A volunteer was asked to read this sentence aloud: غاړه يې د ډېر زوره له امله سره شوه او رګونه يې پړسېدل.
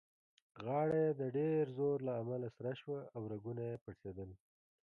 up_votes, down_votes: 0, 2